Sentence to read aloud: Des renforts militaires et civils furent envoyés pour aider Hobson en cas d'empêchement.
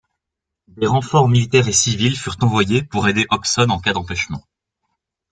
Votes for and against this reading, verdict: 2, 0, accepted